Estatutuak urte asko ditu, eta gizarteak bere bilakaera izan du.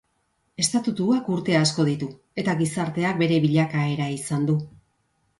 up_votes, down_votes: 2, 0